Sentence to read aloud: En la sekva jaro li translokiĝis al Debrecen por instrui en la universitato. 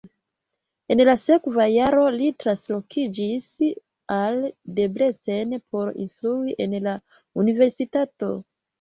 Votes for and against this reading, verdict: 1, 2, rejected